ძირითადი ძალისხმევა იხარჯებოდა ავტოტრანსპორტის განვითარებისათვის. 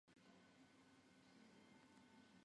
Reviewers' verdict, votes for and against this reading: rejected, 0, 2